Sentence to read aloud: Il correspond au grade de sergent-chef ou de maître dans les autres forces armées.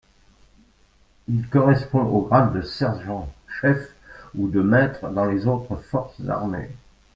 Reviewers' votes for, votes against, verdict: 0, 2, rejected